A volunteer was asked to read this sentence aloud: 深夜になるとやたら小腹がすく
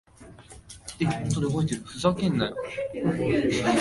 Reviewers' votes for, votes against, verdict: 1, 2, rejected